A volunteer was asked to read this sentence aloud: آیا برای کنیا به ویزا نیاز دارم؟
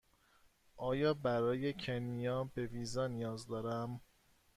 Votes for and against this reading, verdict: 2, 0, accepted